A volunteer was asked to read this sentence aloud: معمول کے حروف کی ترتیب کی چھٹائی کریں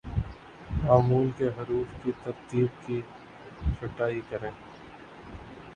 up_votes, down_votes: 3, 0